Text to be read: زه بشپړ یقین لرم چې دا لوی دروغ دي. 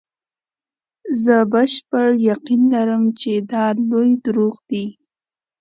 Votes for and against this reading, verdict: 2, 0, accepted